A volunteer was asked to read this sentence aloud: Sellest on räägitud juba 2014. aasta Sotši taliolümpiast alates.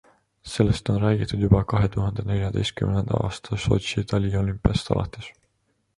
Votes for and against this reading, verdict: 0, 2, rejected